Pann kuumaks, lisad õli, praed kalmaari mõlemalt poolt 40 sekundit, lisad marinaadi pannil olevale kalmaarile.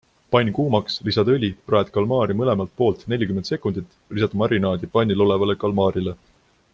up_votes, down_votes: 0, 2